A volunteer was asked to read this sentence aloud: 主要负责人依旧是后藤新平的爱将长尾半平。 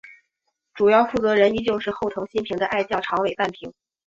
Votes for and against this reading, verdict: 2, 0, accepted